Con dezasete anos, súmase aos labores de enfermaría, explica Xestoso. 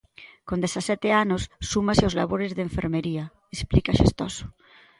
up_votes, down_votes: 0, 2